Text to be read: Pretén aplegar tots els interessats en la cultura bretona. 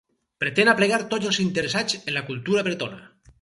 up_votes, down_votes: 2, 0